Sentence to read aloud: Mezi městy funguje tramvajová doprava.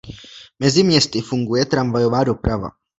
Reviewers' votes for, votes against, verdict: 2, 0, accepted